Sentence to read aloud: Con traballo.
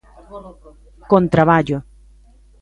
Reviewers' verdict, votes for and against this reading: accepted, 2, 1